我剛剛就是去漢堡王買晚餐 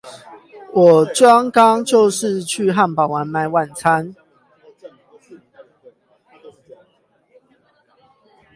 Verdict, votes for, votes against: rejected, 0, 8